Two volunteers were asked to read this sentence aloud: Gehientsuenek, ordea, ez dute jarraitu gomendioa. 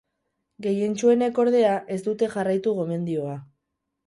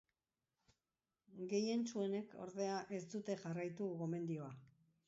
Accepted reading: second